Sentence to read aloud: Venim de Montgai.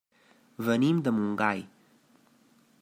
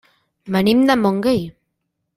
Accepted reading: first